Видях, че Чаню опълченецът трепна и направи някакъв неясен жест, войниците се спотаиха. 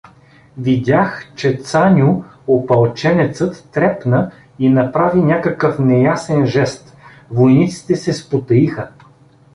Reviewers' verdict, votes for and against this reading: rejected, 0, 2